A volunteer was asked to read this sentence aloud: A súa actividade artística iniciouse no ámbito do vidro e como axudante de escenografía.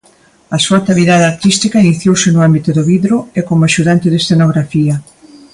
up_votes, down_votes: 2, 0